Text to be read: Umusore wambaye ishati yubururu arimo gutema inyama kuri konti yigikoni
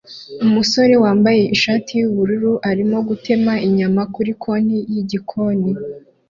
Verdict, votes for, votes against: accepted, 2, 0